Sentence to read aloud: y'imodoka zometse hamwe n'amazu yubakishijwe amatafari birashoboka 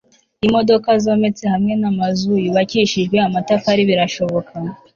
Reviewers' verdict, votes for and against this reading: accepted, 3, 0